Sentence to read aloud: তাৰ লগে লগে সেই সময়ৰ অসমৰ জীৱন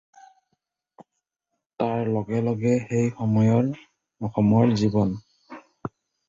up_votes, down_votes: 0, 2